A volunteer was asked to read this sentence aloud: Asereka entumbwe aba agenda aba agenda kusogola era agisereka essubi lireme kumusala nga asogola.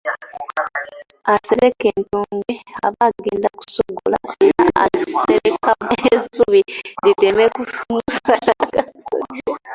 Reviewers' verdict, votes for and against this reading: rejected, 0, 2